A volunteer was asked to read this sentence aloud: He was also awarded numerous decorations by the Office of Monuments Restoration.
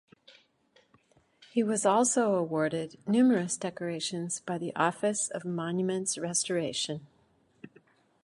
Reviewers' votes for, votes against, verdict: 2, 0, accepted